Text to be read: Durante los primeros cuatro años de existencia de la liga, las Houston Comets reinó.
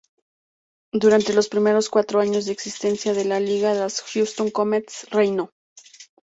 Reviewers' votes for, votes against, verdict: 2, 0, accepted